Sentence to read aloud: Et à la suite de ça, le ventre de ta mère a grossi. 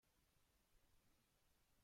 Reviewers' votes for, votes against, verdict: 0, 2, rejected